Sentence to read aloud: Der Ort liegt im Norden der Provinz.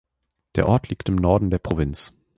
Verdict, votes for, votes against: accepted, 3, 0